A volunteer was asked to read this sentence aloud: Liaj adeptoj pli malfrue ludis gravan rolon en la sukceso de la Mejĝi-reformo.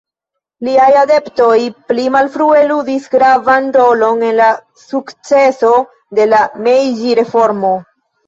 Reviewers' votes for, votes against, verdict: 1, 2, rejected